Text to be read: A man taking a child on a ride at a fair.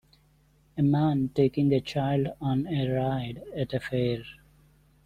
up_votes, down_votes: 2, 1